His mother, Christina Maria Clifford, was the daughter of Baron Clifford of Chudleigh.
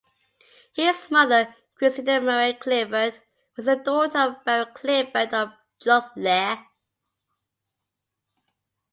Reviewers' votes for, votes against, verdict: 2, 1, accepted